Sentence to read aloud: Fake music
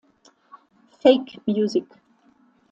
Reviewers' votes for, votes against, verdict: 2, 0, accepted